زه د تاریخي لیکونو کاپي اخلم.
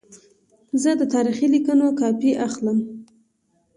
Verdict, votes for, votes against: accepted, 2, 0